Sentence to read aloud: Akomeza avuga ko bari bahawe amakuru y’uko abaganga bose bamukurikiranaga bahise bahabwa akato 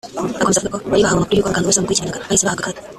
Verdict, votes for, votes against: rejected, 0, 2